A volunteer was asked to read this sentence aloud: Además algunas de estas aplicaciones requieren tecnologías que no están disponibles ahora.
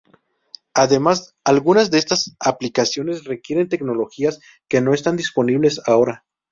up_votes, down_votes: 0, 2